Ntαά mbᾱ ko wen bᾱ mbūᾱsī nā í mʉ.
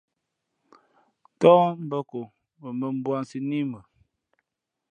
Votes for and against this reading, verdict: 2, 0, accepted